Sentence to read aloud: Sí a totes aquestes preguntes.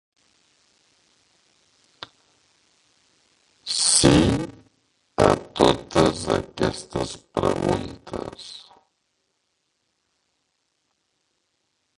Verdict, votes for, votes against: rejected, 0, 2